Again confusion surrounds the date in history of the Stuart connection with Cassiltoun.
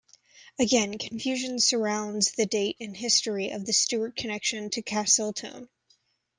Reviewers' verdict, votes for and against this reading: rejected, 0, 2